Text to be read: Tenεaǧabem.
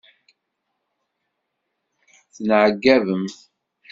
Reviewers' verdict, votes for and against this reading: rejected, 0, 2